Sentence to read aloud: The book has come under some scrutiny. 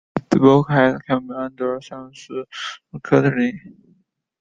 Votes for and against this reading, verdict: 0, 2, rejected